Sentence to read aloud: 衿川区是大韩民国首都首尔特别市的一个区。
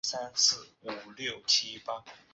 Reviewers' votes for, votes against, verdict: 2, 1, accepted